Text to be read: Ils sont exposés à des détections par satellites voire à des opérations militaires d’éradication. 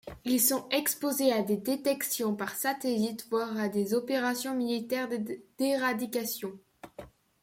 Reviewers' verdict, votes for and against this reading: accepted, 2, 1